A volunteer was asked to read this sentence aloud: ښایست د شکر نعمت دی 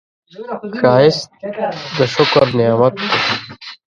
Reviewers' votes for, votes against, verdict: 0, 2, rejected